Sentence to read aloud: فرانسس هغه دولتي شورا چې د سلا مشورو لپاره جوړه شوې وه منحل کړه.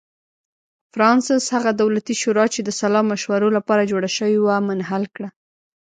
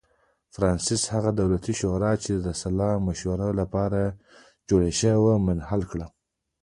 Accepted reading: second